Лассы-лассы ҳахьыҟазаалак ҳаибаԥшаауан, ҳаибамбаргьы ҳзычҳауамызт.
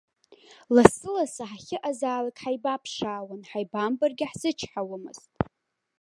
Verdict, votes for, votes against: rejected, 1, 2